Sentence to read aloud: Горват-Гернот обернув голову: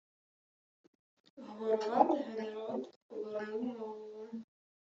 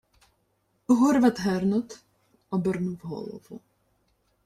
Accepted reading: second